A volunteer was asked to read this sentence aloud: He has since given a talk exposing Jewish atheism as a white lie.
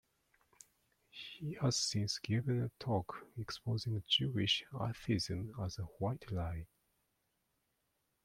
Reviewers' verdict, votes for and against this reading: rejected, 0, 2